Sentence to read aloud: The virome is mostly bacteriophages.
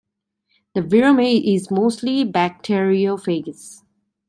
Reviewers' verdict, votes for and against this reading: rejected, 0, 2